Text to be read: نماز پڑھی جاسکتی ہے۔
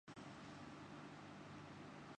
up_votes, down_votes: 1, 2